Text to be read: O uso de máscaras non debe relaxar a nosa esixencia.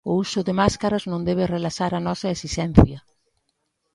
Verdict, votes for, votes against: accepted, 2, 0